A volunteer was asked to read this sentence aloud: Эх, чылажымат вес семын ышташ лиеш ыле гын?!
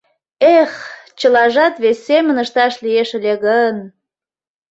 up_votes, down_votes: 0, 2